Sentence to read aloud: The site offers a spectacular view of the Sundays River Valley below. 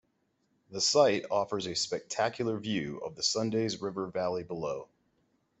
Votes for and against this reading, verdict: 2, 0, accepted